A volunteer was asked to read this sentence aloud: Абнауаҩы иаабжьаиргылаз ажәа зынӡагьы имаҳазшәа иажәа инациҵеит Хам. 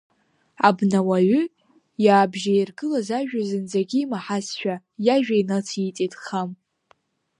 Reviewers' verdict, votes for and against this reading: accepted, 2, 0